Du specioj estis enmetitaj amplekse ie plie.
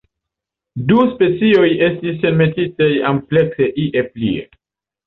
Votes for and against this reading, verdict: 2, 0, accepted